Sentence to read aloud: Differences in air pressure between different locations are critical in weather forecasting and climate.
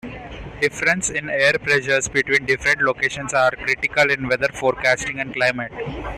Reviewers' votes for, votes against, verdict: 0, 2, rejected